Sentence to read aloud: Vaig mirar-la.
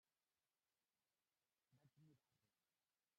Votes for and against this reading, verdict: 0, 2, rejected